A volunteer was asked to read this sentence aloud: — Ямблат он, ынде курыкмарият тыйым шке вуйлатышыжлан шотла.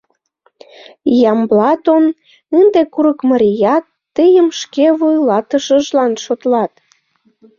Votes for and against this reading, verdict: 0, 2, rejected